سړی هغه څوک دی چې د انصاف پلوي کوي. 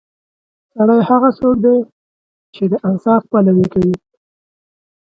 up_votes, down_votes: 4, 3